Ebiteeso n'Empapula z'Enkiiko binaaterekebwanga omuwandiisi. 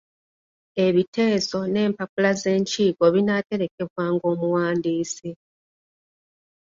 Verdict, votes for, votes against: accepted, 2, 0